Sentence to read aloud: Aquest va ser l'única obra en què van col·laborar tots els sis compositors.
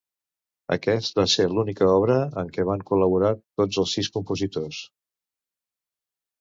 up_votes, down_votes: 2, 0